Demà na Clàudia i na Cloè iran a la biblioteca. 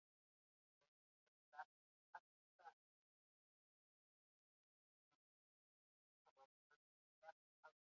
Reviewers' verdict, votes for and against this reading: rejected, 0, 2